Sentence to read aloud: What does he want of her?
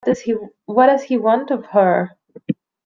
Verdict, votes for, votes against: rejected, 1, 2